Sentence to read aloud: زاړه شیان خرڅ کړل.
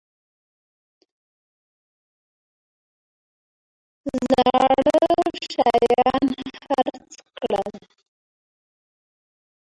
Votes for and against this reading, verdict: 0, 2, rejected